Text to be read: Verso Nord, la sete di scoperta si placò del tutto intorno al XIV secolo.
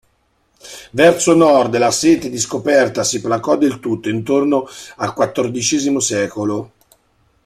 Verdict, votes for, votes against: accepted, 2, 0